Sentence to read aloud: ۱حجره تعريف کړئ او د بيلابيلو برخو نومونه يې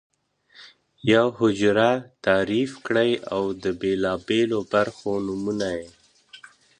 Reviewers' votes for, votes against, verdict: 0, 2, rejected